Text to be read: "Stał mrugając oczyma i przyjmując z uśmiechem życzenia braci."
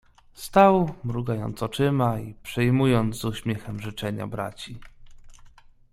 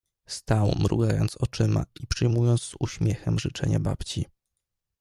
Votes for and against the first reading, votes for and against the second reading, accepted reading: 2, 0, 1, 2, first